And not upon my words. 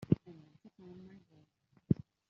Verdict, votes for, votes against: rejected, 0, 2